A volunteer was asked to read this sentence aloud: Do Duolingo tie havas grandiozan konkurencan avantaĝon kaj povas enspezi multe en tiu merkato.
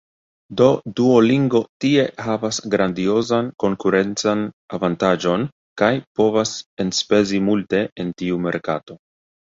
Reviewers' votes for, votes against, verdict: 2, 0, accepted